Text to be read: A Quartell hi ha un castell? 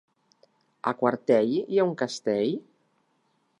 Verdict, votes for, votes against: accepted, 4, 1